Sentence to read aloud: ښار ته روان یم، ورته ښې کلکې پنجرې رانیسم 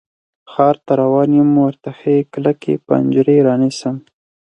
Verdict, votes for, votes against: accepted, 4, 0